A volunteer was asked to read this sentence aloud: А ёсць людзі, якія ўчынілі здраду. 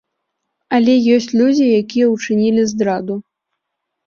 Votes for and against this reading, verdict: 1, 2, rejected